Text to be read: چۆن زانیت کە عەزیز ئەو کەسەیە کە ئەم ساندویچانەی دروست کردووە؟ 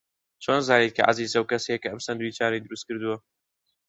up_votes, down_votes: 2, 0